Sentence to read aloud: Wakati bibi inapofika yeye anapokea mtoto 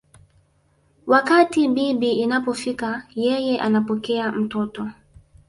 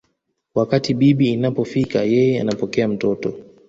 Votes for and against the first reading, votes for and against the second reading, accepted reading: 1, 2, 2, 1, second